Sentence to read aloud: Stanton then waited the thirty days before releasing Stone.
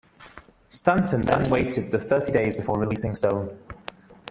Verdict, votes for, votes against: rejected, 0, 2